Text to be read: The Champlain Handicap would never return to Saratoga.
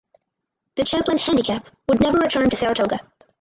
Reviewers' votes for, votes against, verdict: 0, 4, rejected